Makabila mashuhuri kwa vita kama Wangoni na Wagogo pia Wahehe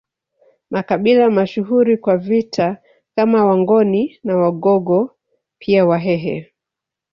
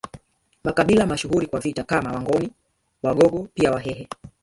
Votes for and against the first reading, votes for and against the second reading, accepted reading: 1, 2, 2, 0, second